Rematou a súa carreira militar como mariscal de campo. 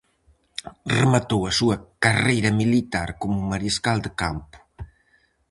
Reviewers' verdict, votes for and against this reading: rejected, 2, 2